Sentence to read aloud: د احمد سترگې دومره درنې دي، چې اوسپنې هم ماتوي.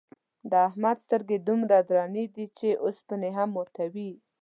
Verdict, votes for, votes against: accepted, 2, 0